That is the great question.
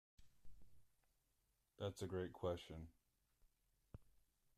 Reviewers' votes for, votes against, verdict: 0, 2, rejected